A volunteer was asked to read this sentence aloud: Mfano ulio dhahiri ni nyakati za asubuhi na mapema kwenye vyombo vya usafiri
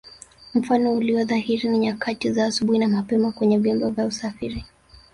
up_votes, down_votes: 3, 1